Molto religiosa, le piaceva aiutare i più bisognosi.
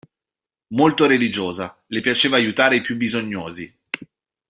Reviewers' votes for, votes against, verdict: 2, 0, accepted